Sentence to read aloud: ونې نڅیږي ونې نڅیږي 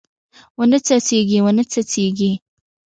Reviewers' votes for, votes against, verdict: 2, 0, accepted